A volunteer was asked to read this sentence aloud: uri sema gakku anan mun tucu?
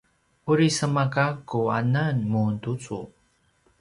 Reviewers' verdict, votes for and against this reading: rejected, 1, 2